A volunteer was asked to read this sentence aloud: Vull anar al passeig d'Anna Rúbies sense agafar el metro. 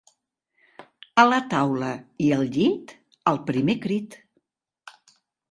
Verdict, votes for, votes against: rejected, 0, 2